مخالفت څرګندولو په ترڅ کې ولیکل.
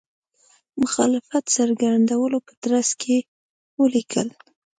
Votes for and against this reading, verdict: 2, 0, accepted